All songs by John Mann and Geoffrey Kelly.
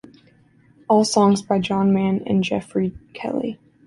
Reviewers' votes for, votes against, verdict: 2, 0, accepted